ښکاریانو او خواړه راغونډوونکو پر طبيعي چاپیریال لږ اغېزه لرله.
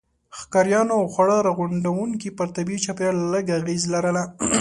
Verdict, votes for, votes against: accepted, 2, 1